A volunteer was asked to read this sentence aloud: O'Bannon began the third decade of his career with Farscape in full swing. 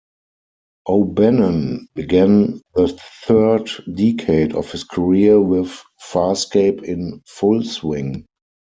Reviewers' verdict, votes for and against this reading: rejected, 2, 4